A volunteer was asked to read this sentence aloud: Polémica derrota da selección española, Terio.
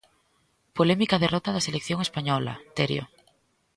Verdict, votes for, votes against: accepted, 2, 0